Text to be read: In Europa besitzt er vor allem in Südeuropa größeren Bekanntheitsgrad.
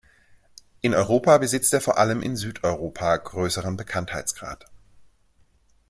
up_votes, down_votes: 2, 0